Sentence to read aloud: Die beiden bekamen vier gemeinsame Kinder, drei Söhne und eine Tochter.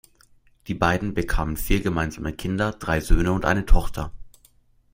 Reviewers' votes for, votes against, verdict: 2, 0, accepted